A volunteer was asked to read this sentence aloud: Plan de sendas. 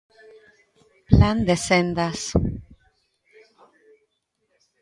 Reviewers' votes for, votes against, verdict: 1, 2, rejected